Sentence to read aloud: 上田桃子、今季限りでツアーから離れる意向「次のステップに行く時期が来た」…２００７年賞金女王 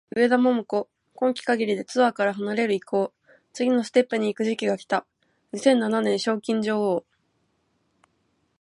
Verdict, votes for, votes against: rejected, 0, 2